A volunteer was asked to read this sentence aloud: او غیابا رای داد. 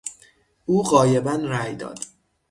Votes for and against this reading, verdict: 0, 6, rejected